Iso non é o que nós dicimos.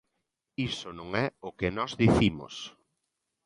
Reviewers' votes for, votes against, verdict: 2, 0, accepted